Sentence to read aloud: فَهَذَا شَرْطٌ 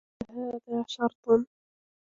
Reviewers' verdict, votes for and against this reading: rejected, 1, 2